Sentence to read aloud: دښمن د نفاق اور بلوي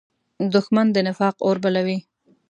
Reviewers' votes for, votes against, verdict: 2, 0, accepted